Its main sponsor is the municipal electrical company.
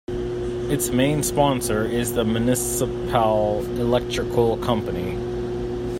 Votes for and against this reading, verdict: 0, 2, rejected